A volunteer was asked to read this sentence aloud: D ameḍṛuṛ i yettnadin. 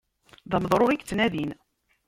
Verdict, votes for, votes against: rejected, 1, 2